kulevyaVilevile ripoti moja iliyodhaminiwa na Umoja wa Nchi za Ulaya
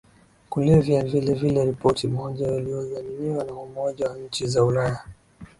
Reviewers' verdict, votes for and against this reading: accepted, 3, 0